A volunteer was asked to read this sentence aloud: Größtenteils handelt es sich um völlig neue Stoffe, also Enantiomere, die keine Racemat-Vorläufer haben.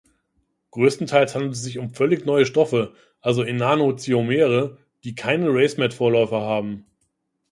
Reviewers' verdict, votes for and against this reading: rejected, 1, 2